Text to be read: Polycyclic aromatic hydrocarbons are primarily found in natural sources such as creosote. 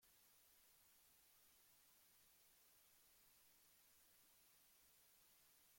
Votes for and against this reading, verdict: 0, 2, rejected